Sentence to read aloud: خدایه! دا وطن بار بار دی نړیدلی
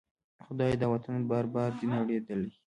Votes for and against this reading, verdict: 1, 2, rejected